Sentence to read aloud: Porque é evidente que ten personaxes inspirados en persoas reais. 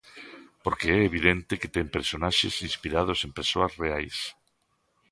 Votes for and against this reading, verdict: 2, 0, accepted